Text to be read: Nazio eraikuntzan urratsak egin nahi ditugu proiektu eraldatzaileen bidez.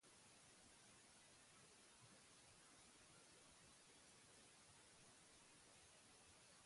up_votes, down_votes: 0, 4